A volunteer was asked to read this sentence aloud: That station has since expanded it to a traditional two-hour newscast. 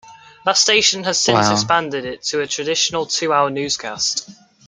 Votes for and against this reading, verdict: 0, 2, rejected